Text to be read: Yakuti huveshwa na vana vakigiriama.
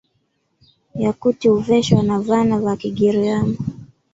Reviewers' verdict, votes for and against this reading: accepted, 2, 0